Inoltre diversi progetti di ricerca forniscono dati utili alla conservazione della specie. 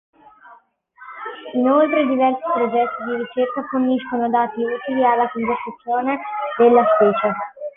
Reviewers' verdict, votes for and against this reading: rejected, 0, 2